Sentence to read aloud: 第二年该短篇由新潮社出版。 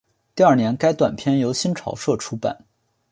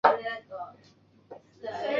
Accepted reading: first